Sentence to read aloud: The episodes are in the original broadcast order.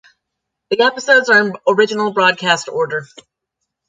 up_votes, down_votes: 1, 2